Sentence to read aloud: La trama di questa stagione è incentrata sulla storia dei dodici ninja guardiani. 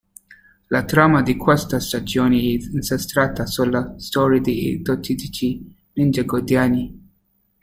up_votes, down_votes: 0, 2